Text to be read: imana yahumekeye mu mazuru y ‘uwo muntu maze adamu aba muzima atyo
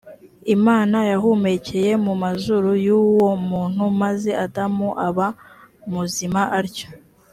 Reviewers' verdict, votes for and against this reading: accepted, 3, 0